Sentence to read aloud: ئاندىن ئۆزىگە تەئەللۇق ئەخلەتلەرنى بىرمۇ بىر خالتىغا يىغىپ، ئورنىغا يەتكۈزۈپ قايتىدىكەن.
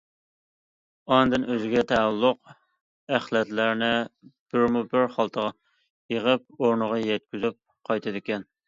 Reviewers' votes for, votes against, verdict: 2, 0, accepted